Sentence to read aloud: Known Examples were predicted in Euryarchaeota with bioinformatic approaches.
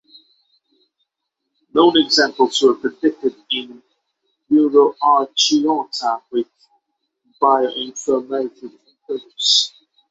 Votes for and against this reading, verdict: 3, 3, rejected